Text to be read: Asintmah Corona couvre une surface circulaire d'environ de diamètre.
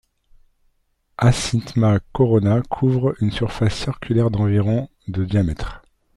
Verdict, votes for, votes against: rejected, 1, 2